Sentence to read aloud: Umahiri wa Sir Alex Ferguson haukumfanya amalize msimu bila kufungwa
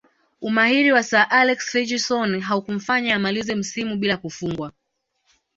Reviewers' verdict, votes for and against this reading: accepted, 2, 0